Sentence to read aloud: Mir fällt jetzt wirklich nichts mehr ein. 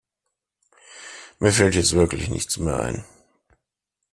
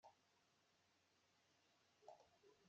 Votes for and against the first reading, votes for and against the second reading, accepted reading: 2, 0, 0, 2, first